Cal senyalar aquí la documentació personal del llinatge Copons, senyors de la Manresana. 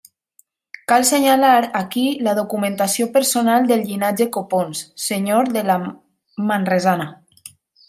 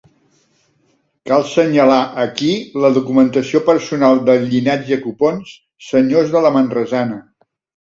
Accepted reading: second